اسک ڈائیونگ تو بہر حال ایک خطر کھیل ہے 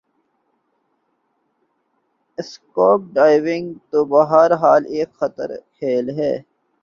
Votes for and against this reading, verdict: 2, 2, rejected